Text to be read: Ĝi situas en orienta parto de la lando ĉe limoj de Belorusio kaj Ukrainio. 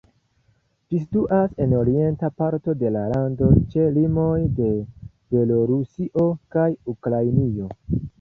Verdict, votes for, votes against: rejected, 1, 2